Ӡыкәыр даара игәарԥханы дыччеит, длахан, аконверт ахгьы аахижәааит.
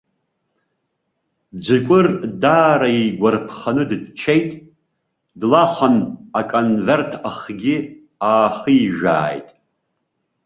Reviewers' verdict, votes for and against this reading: accepted, 2, 0